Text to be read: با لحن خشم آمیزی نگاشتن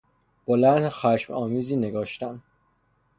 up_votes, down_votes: 3, 0